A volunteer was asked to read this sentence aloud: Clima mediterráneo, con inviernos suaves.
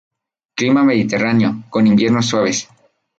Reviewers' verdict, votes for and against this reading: rejected, 0, 2